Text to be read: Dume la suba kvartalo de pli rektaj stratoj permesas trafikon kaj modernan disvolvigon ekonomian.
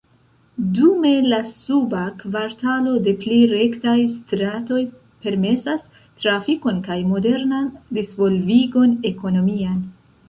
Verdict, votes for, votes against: rejected, 1, 2